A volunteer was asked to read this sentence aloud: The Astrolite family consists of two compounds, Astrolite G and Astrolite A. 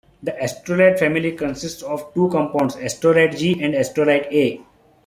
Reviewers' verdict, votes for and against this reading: accepted, 2, 0